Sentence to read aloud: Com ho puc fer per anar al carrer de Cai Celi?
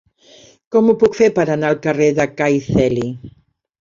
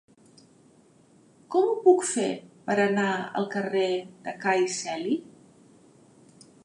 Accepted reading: second